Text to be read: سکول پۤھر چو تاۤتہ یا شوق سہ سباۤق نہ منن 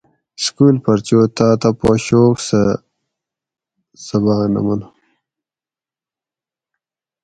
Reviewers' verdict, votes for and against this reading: rejected, 2, 2